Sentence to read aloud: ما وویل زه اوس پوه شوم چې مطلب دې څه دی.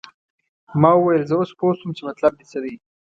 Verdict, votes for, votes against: accepted, 2, 0